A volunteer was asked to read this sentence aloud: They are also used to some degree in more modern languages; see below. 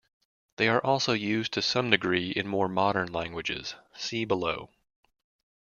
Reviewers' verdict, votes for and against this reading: accepted, 2, 0